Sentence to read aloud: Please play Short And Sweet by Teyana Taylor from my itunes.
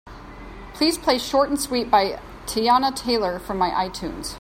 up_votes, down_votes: 3, 0